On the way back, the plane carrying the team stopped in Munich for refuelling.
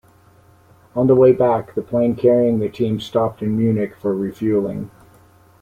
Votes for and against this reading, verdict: 2, 0, accepted